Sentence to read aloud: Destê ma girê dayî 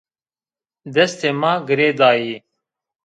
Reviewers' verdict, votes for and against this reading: rejected, 1, 2